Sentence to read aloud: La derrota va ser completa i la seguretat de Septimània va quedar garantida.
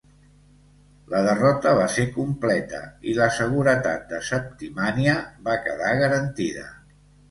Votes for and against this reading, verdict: 2, 0, accepted